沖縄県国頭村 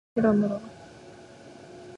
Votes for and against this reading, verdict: 0, 2, rejected